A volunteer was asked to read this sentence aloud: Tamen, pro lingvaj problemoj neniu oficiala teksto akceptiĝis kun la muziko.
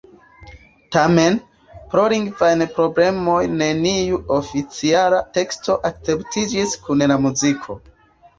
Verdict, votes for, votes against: accepted, 2, 0